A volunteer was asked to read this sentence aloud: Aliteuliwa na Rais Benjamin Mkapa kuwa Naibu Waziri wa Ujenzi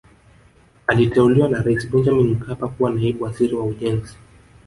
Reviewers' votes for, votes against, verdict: 1, 2, rejected